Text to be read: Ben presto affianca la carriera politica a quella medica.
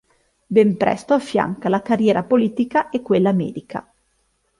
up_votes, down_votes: 1, 2